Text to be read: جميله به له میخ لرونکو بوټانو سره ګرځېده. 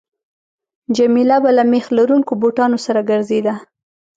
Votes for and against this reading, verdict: 2, 0, accepted